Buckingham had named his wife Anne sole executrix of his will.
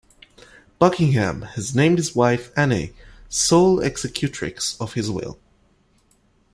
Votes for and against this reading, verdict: 1, 2, rejected